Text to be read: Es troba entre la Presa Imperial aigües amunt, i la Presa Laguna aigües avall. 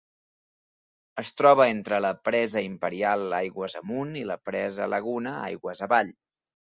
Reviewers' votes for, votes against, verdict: 3, 0, accepted